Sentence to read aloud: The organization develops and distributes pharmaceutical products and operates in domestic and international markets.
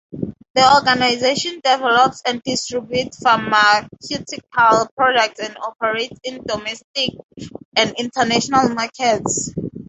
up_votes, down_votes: 4, 0